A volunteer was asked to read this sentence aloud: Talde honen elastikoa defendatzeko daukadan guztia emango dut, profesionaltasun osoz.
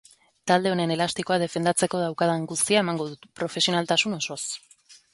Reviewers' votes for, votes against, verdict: 2, 0, accepted